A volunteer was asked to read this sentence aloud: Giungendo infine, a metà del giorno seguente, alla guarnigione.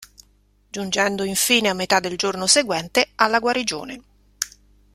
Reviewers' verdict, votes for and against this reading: accepted, 2, 1